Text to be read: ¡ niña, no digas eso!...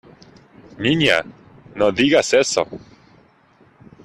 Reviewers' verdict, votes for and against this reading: accepted, 2, 0